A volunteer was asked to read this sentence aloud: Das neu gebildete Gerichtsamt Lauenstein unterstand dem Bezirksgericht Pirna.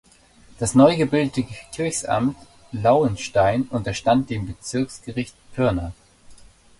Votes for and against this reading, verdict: 1, 3, rejected